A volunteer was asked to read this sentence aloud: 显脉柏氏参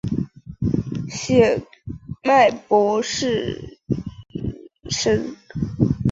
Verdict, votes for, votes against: rejected, 0, 3